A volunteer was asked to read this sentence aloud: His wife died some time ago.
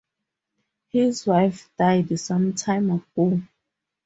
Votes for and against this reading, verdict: 0, 4, rejected